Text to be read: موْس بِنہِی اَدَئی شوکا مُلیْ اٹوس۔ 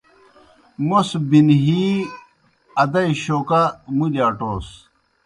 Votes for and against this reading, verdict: 2, 0, accepted